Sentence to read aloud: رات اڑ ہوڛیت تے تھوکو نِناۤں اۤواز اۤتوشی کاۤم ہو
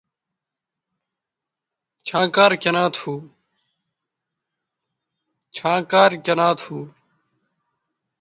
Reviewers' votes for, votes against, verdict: 0, 2, rejected